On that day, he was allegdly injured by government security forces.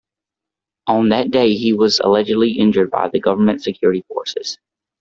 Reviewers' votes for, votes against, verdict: 0, 2, rejected